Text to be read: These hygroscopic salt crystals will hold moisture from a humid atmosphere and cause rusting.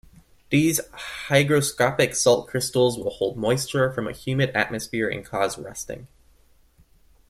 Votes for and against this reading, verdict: 2, 0, accepted